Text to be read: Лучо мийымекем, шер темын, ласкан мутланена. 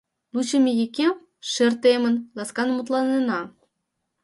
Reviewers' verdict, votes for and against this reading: rejected, 1, 3